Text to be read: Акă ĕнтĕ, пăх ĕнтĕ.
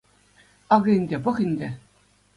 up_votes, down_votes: 2, 0